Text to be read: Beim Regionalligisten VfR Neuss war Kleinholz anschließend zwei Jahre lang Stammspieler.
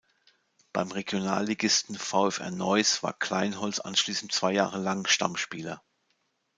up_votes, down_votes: 2, 0